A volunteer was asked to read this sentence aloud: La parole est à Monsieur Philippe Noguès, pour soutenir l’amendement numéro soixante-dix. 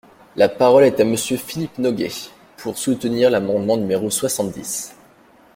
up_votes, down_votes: 2, 0